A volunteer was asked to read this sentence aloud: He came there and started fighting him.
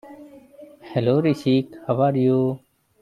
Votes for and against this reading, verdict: 0, 2, rejected